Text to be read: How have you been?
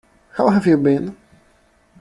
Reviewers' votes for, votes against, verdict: 2, 0, accepted